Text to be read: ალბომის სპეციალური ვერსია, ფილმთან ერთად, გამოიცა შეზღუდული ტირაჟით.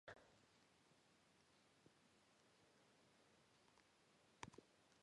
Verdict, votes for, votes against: rejected, 1, 2